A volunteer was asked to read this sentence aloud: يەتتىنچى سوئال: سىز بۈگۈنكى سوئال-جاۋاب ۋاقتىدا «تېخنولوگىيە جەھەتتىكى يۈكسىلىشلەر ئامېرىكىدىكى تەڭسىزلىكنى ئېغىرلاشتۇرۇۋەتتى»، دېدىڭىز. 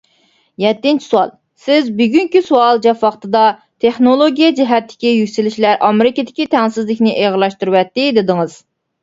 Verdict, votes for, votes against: rejected, 1, 2